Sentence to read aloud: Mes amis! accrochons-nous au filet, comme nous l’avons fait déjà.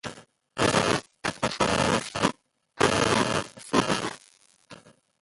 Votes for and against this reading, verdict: 0, 2, rejected